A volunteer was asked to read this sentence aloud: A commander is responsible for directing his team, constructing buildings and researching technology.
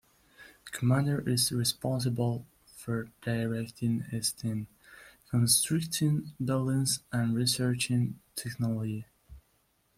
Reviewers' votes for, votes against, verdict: 2, 0, accepted